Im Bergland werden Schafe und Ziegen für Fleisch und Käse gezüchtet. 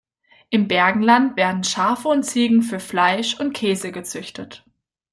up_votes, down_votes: 0, 2